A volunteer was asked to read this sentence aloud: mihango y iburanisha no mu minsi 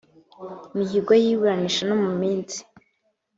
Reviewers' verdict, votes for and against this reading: rejected, 0, 2